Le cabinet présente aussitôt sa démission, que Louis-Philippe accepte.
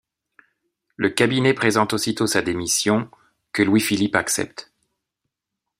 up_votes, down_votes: 2, 0